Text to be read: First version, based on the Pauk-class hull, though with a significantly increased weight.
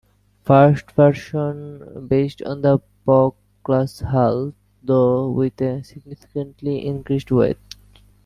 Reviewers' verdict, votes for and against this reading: rejected, 1, 2